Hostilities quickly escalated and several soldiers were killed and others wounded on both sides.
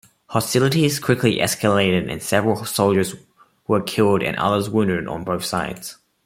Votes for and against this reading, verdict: 2, 0, accepted